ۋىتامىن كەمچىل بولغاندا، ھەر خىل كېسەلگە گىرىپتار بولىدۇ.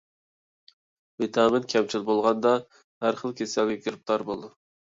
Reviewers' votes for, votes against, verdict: 2, 0, accepted